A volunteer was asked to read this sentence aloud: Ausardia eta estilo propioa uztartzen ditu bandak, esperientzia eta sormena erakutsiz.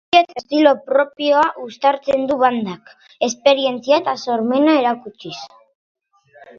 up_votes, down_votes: 1, 3